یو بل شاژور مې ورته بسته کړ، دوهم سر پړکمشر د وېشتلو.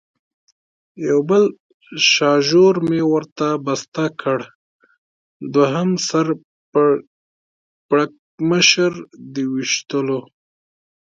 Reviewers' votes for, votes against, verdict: 1, 2, rejected